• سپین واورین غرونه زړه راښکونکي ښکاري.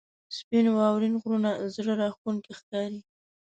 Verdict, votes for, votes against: accepted, 2, 1